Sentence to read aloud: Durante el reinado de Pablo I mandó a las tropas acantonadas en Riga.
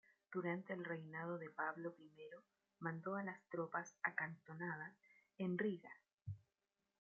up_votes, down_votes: 1, 2